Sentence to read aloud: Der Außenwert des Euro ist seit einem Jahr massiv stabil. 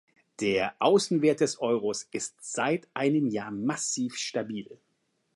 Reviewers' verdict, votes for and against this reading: rejected, 1, 2